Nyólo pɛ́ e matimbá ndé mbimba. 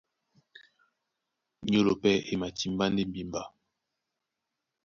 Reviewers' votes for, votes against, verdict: 2, 0, accepted